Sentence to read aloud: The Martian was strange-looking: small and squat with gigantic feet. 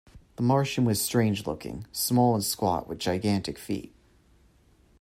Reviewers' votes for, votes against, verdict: 2, 0, accepted